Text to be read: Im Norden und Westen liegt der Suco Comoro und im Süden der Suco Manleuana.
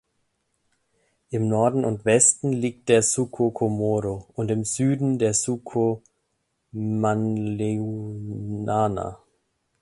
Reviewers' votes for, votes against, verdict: 0, 2, rejected